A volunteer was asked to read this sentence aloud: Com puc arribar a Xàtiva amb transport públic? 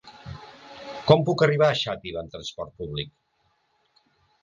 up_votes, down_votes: 2, 0